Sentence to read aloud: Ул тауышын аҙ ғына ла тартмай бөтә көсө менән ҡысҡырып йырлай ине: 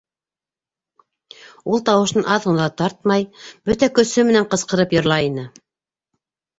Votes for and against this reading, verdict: 2, 0, accepted